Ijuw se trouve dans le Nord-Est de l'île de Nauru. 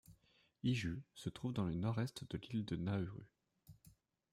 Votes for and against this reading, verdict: 1, 2, rejected